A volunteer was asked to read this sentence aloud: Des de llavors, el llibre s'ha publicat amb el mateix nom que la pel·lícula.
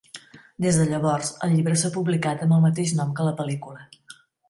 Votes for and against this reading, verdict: 2, 0, accepted